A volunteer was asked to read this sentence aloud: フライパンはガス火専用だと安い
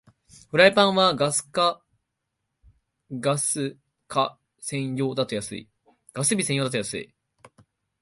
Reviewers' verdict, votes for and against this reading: rejected, 0, 2